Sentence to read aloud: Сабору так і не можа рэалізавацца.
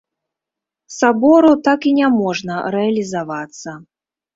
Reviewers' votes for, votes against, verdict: 0, 2, rejected